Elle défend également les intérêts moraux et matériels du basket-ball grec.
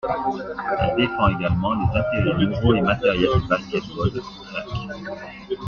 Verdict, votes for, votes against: accepted, 2, 1